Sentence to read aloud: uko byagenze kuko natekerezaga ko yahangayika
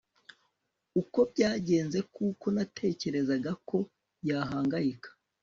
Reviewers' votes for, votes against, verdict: 1, 2, rejected